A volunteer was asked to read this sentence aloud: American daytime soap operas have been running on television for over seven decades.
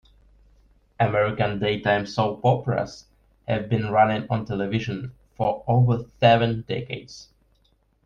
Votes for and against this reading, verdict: 2, 0, accepted